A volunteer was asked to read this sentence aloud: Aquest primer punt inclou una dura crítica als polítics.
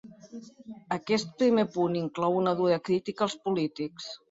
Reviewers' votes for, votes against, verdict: 3, 0, accepted